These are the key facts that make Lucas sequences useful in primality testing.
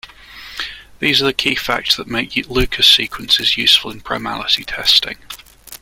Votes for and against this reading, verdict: 0, 2, rejected